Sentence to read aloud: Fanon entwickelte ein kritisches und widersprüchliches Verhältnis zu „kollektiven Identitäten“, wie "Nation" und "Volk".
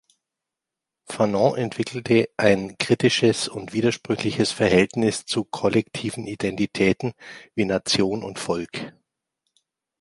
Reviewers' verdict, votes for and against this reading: accepted, 2, 0